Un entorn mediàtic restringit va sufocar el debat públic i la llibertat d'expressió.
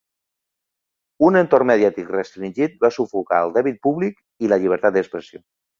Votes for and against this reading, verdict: 1, 2, rejected